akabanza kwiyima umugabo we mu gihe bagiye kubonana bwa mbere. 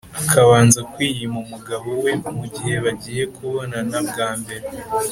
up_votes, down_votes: 2, 0